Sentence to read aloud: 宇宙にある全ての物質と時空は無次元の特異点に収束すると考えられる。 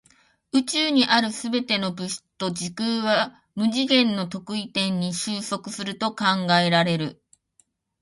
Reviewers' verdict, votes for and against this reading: rejected, 1, 2